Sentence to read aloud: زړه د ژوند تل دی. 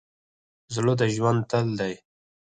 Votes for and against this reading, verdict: 0, 4, rejected